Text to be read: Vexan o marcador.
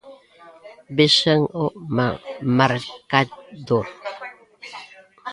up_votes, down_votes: 0, 2